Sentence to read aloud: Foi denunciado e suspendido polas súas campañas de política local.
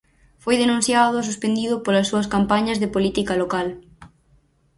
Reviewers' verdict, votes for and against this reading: accepted, 4, 0